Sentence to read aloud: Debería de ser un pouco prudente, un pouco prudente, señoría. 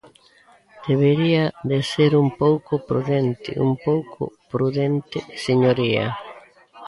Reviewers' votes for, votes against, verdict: 2, 0, accepted